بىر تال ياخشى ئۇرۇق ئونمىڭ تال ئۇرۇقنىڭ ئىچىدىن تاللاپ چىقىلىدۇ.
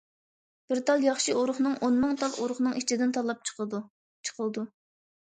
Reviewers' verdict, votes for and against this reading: rejected, 0, 2